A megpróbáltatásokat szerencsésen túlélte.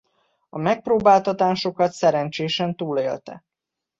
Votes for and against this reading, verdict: 2, 0, accepted